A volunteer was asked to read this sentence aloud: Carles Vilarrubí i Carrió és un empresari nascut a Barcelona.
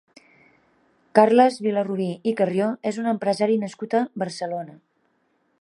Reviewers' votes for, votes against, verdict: 4, 0, accepted